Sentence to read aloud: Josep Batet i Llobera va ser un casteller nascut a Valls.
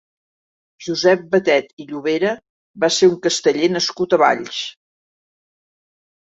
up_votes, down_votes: 4, 0